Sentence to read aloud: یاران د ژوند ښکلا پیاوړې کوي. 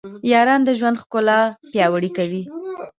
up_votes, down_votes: 0, 2